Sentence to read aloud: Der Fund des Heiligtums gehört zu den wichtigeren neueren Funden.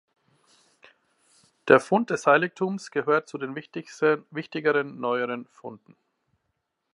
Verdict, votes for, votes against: rejected, 0, 2